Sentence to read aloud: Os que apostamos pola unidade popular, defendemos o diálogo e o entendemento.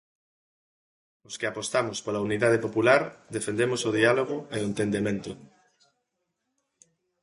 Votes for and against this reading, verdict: 2, 0, accepted